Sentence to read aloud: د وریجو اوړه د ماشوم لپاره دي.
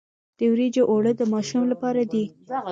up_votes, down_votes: 2, 0